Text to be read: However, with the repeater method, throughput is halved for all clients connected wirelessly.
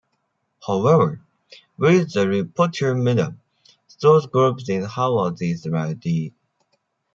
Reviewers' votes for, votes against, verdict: 0, 2, rejected